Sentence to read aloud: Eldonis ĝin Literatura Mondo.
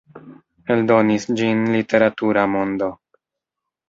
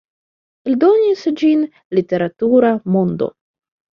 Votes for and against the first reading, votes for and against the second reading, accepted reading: 0, 2, 2, 1, second